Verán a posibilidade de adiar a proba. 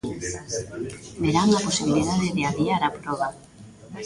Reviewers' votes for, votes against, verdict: 1, 2, rejected